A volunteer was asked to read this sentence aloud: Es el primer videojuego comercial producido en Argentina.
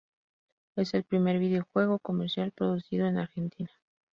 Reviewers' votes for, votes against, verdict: 4, 0, accepted